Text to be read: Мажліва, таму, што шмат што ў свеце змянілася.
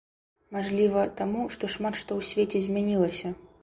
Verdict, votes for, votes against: accepted, 2, 0